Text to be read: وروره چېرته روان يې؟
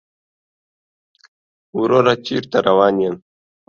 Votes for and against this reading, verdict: 2, 0, accepted